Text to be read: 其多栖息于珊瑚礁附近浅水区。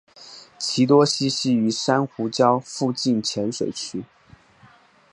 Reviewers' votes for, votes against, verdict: 5, 0, accepted